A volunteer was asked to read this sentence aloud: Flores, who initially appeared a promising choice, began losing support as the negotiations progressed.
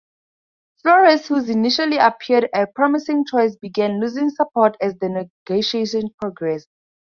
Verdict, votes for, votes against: rejected, 0, 2